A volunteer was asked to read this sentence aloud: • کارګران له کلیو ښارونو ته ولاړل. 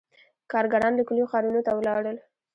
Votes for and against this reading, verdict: 2, 0, accepted